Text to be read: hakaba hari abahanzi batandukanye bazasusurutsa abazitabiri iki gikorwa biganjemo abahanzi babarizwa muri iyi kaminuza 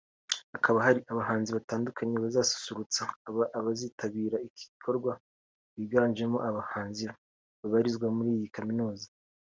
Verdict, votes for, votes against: accepted, 2, 0